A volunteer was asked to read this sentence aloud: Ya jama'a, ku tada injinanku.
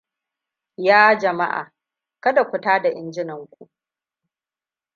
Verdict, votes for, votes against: rejected, 1, 2